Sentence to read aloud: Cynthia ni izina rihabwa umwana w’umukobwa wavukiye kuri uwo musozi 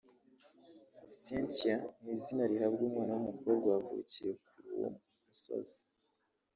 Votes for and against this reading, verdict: 1, 2, rejected